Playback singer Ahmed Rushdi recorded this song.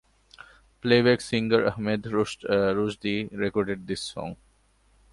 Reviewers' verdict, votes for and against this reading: accepted, 2, 0